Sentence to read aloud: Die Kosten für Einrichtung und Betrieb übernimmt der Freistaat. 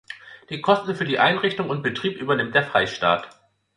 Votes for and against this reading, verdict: 1, 2, rejected